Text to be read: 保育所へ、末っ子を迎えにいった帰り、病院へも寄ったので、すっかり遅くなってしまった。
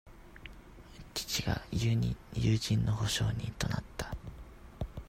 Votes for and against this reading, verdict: 0, 2, rejected